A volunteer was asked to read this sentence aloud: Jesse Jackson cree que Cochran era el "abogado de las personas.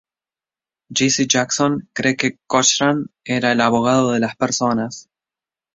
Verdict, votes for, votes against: accepted, 2, 0